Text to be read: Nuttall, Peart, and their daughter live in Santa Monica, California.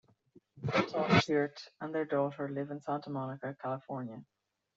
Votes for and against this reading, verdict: 1, 2, rejected